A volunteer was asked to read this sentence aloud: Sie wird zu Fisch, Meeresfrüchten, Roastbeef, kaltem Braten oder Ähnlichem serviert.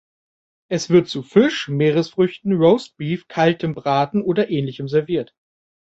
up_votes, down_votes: 0, 3